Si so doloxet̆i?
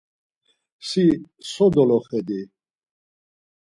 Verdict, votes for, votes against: accepted, 4, 2